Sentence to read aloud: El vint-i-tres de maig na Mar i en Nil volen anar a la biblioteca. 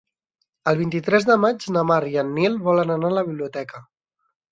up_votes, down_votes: 2, 0